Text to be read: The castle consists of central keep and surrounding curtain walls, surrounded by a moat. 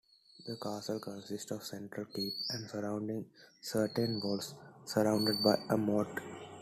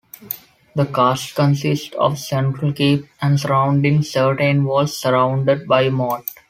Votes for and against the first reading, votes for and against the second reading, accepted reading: 2, 1, 1, 2, first